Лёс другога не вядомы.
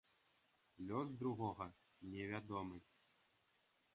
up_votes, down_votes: 2, 0